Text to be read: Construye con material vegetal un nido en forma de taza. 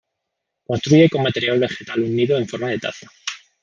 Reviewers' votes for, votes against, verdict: 2, 0, accepted